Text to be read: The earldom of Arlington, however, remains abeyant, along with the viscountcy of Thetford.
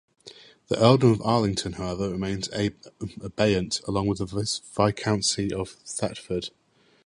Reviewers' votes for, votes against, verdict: 0, 2, rejected